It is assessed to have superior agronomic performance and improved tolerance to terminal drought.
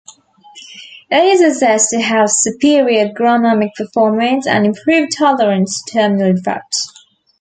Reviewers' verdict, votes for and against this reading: rejected, 1, 2